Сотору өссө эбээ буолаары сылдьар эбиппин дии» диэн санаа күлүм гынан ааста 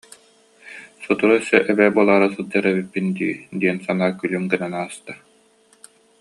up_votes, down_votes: 2, 0